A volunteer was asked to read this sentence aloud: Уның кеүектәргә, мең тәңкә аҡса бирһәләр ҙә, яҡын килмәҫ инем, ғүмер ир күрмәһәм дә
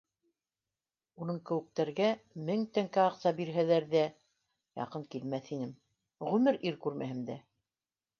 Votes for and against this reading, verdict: 2, 0, accepted